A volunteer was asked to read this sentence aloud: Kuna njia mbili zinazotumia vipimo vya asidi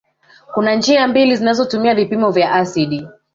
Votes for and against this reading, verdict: 1, 2, rejected